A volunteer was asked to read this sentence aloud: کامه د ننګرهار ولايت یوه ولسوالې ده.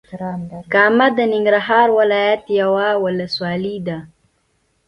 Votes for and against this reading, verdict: 2, 0, accepted